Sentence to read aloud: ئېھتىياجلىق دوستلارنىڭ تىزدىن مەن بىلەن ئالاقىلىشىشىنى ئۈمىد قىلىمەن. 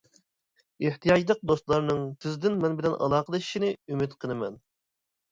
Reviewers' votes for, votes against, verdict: 2, 0, accepted